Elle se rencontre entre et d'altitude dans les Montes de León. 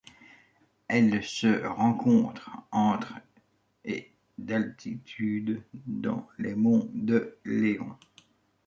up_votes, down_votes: 0, 2